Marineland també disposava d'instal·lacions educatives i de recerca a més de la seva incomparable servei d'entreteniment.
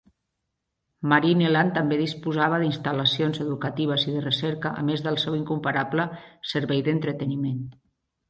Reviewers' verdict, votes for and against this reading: rejected, 0, 2